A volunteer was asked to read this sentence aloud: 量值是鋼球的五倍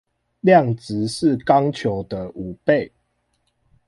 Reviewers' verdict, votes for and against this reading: accepted, 2, 0